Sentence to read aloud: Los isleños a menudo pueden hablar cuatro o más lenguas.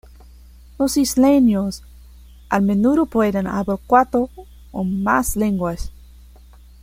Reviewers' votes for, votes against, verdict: 1, 2, rejected